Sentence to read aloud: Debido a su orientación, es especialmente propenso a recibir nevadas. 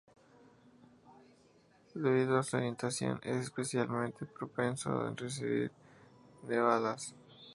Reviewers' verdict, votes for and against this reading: accepted, 2, 0